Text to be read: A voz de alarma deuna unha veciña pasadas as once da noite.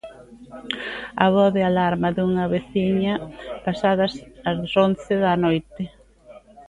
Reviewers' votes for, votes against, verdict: 0, 2, rejected